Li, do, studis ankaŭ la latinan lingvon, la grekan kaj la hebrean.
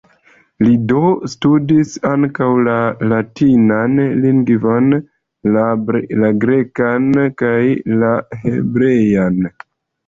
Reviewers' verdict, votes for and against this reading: rejected, 1, 3